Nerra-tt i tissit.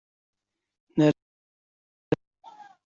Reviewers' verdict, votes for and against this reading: rejected, 0, 3